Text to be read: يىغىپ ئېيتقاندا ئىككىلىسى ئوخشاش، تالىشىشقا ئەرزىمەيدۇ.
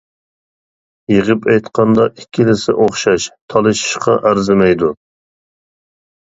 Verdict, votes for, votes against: accepted, 2, 0